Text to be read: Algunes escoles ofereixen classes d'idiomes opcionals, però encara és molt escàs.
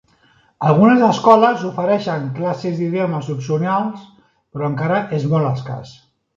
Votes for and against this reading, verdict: 2, 0, accepted